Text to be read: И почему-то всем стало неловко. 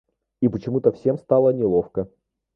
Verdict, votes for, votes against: rejected, 1, 2